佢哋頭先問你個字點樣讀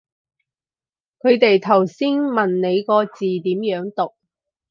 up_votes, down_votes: 4, 0